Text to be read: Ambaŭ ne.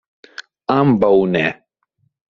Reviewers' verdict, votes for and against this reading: accepted, 2, 0